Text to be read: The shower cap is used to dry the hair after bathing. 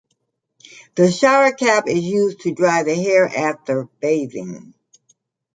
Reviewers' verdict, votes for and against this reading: accepted, 2, 0